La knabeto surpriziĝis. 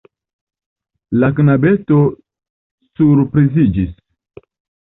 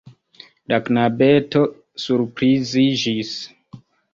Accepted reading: first